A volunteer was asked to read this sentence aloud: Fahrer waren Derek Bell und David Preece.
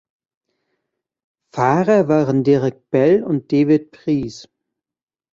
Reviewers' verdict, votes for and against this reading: accepted, 2, 0